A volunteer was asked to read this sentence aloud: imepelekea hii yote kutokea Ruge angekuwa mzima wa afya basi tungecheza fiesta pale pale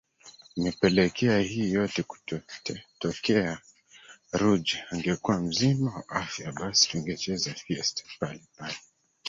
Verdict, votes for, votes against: rejected, 0, 3